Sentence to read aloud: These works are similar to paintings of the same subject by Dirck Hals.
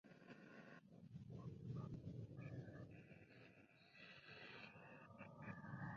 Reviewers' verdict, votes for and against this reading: rejected, 1, 2